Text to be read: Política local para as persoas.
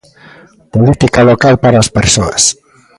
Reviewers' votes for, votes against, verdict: 2, 1, accepted